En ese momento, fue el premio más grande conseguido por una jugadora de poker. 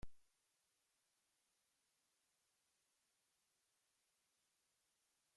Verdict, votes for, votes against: rejected, 0, 2